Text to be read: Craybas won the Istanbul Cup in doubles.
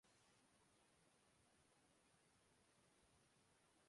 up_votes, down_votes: 0, 2